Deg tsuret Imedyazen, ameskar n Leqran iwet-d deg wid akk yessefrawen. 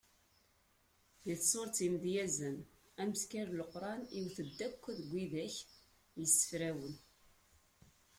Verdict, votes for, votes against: rejected, 0, 2